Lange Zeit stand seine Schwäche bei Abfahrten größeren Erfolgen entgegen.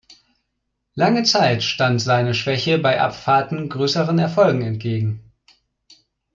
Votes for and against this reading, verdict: 3, 0, accepted